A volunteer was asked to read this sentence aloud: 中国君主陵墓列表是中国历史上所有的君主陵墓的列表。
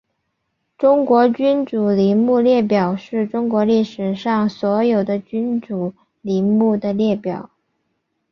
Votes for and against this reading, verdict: 2, 1, accepted